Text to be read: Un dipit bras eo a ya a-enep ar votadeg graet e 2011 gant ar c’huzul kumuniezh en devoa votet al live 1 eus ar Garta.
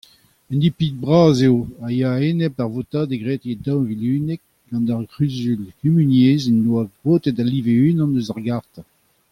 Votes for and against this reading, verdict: 0, 2, rejected